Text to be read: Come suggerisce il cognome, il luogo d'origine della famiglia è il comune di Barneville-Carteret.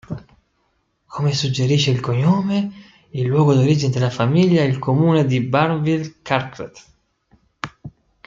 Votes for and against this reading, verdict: 2, 1, accepted